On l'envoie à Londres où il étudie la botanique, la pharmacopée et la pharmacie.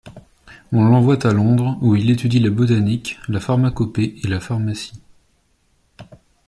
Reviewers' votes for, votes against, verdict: 2, 0, accepted